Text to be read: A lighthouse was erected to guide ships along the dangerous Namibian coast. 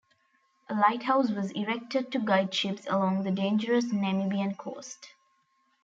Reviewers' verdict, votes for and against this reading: accepted, 4, 0